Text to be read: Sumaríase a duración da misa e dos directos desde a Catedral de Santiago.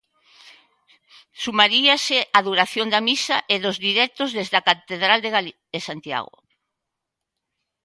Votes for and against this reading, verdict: 0, 2, rejected